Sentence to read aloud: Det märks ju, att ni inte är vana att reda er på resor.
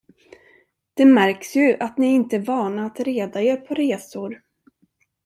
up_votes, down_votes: 1, 2